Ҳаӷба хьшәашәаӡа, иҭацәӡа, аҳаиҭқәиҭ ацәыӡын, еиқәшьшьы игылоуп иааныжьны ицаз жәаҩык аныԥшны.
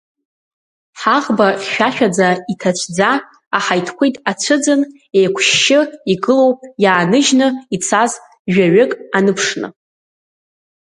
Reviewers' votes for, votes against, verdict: 2, 0, accepted